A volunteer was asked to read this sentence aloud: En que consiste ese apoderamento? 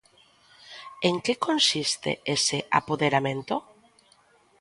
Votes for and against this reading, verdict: 2, 0, accepted